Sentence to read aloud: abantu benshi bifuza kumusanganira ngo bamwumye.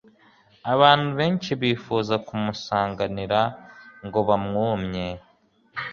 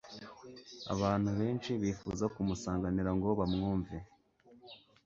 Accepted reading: first